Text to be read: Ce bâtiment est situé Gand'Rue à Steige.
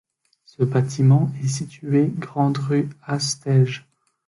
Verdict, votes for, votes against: rejected, 0, 2